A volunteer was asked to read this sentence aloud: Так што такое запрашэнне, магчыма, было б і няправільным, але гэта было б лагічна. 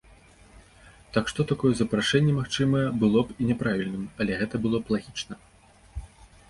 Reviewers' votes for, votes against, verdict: 2, 3, rejected